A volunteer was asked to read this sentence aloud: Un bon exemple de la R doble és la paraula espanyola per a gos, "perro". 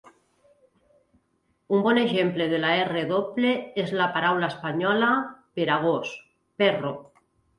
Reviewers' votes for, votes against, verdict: 2, 0, accepted